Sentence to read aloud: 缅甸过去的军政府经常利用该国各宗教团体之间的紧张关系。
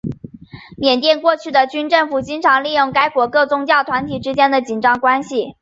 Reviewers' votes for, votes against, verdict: 2, 1, accepted